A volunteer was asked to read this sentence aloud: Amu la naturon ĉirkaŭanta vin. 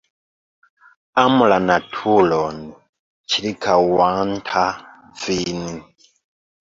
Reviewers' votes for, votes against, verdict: 2, 0, accepted